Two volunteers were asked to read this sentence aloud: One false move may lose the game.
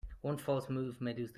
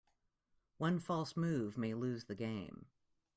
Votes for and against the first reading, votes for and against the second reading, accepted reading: 0, 2, 2, 0, second